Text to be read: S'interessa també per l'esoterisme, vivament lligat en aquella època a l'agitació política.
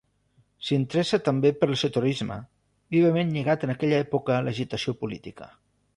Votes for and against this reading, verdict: 2, 0, accepted